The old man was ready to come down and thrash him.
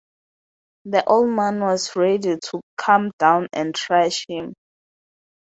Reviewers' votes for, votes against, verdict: 4, 2, accepted